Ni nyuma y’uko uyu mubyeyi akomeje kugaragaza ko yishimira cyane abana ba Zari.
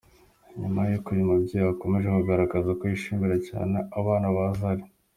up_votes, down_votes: 2, 1